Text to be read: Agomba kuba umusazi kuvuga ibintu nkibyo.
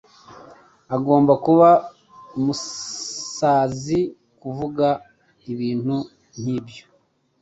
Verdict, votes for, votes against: accepted, 2, 0